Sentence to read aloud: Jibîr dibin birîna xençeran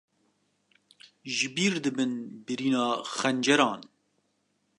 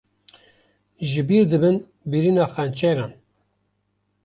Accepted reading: second